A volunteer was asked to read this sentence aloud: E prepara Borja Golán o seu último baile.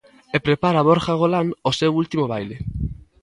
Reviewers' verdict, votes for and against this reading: accepted, 2, 0